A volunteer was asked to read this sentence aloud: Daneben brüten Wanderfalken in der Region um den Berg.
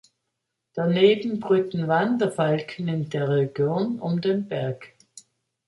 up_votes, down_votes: 2, 0